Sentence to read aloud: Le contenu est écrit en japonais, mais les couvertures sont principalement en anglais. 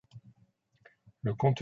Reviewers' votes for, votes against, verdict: 0, 2, rejected